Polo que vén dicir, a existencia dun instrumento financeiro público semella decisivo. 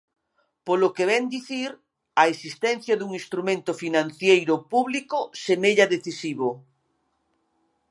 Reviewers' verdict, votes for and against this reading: accepted, 2, 1